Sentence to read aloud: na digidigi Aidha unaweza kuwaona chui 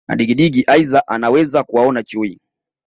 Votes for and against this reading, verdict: 1, 2, rejected